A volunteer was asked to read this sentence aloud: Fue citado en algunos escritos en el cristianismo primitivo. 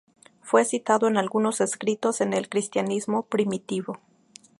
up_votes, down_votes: 2, 0